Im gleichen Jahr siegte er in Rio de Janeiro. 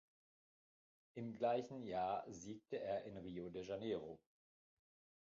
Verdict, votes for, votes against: accepted, 2, 1